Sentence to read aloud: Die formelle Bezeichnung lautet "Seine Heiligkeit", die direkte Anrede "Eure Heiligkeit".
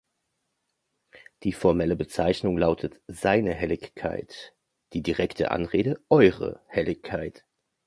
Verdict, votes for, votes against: rejected, 1, 2